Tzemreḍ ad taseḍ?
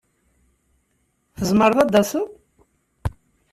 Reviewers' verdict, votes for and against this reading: accepted, 2, 0